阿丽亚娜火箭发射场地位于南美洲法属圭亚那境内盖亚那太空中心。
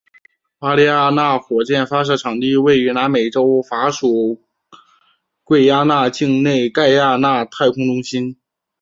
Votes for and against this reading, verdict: 2, 1, accepted